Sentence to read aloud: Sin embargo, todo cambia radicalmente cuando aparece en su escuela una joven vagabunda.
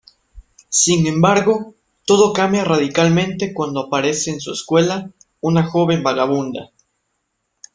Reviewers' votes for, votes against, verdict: 2, 0, accepted